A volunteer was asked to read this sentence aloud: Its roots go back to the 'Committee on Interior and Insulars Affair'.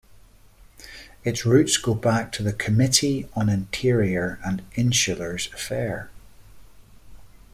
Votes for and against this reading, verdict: 2, 0, accepted